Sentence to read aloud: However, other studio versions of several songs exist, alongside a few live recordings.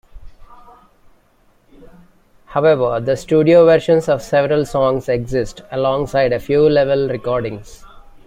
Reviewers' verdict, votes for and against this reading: rejected, 1, 2